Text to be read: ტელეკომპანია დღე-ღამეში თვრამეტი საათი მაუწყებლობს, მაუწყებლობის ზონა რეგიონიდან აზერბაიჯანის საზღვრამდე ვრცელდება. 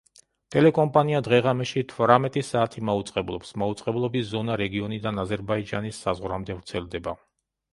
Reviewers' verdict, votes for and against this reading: accepted, 2, 0